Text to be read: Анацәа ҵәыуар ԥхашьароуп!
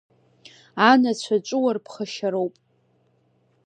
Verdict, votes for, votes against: rejected, 0, 2